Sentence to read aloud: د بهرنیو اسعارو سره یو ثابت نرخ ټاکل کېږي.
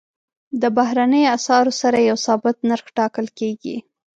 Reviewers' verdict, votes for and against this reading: accepted, 2, 0